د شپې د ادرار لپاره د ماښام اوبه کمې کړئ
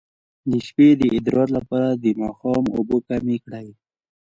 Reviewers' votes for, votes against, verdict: 1, 2, rejected